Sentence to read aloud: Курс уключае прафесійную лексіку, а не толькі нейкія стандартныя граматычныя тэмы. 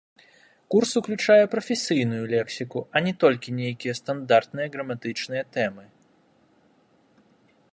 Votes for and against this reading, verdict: 1, 2, rejected